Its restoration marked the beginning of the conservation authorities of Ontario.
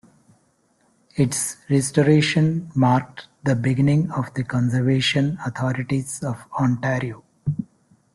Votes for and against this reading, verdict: 1, 2, rejected